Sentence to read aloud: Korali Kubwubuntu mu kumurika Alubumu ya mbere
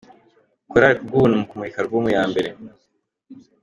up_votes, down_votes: 2, 0